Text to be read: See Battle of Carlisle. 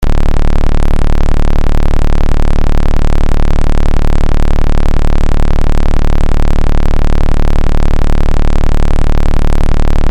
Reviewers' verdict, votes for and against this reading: rejected, 0, 2